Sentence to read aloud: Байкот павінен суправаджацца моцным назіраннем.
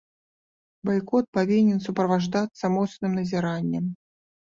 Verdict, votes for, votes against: rejected, 1, 2